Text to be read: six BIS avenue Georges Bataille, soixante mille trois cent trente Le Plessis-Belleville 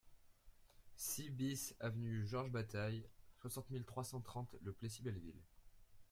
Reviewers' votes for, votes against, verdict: 2, 0, accepted